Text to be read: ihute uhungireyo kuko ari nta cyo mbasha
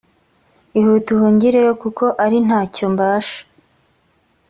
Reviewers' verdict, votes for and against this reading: accepted, 2, 0